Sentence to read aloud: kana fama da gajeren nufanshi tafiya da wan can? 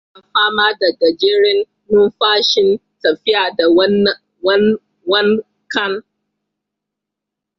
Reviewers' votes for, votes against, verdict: 0, 2, rejected